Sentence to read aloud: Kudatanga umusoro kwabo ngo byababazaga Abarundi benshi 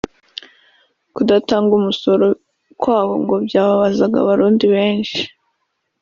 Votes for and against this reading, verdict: 2, 0, accepted